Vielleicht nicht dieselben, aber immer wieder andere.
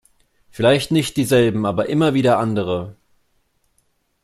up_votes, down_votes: 2, 0